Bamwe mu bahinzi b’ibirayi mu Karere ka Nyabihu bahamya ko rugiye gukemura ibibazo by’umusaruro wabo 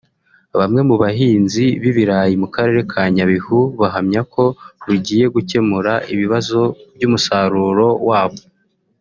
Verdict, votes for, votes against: rejected, 1, 2